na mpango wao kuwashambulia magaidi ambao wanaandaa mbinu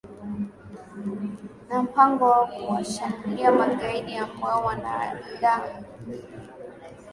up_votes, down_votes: 1, 2